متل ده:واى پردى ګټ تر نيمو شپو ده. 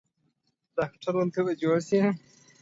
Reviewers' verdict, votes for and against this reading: rejected, 0, 2